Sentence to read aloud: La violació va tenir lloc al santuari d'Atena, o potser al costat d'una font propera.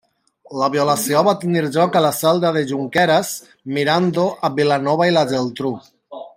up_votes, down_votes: 0, 2